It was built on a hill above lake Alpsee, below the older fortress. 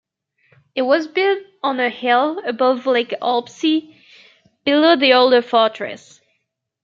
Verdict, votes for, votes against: accepted, 2, 0